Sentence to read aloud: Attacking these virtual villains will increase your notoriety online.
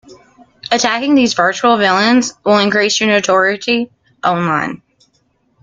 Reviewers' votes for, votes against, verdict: 0, 2, rejected